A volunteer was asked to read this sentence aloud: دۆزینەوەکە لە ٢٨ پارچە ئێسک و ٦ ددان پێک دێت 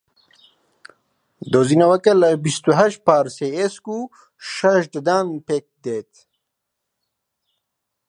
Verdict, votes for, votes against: rejected, 0, 2